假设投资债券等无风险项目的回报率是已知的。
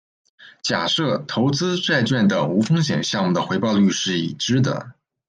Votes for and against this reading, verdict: 1, 2, rejected